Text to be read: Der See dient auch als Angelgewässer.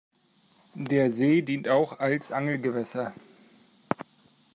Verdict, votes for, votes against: accepted, 2, 0